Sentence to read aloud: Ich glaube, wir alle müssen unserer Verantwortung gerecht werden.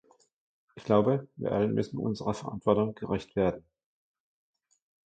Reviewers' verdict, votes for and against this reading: rejected, 1, 2